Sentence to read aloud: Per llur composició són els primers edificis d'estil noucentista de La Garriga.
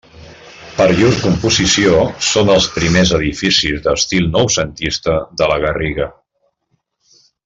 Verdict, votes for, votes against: accepted, 2, 1